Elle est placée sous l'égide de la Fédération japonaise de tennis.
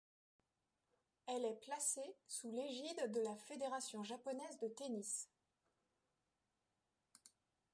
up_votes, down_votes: 1, 2